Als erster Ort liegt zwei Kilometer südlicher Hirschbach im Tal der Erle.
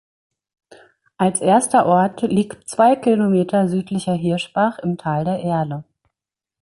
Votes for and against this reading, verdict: 2, 0, accepted